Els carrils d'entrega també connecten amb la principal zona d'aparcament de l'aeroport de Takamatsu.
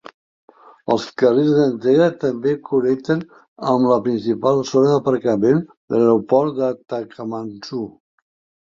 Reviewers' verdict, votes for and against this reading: rejected, 3, 4